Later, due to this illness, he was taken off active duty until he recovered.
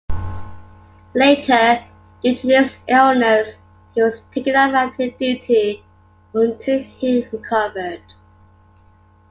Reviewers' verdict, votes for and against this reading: rejected, 1, 2